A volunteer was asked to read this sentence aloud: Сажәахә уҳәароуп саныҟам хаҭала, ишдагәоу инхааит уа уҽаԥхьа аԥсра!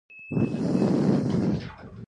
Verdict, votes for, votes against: rejected, 0, 2